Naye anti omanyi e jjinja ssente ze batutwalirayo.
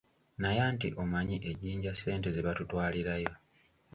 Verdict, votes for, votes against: accepted, 2, 0